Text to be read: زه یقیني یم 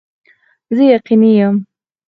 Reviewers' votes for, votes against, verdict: 2, 4, rejected